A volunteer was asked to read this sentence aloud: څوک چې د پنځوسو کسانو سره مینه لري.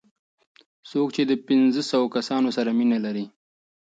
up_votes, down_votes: 2, 0